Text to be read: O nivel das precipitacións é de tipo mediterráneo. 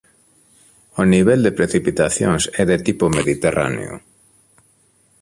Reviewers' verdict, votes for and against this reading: rejected, 1, 2